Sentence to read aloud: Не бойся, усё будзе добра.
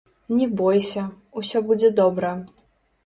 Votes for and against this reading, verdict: 1, 2, rejected